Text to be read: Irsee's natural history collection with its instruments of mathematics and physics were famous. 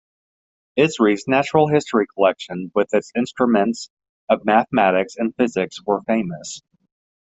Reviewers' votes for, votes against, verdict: 1, 2, rejected